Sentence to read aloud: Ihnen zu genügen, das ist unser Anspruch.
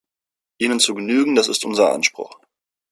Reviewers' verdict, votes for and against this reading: accepted, 2, 0